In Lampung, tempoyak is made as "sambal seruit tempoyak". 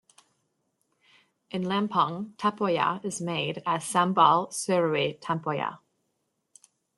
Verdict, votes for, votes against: rejected, 1, 2